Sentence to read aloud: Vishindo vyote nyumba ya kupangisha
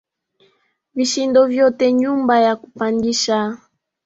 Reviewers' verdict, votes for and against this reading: rejected, 1, 2